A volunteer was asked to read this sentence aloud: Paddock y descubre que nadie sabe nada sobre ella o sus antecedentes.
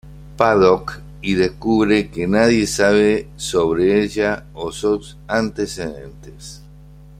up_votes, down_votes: 1, 2